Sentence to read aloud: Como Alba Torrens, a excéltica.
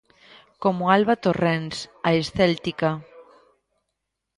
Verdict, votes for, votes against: rejected, 0, 2